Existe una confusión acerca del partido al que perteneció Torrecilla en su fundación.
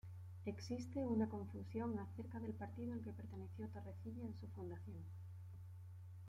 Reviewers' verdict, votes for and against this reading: accepted, 2, 0